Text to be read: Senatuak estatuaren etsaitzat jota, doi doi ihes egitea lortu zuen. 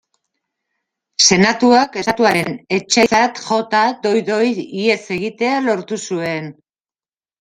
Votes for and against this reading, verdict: 0, 2, rejected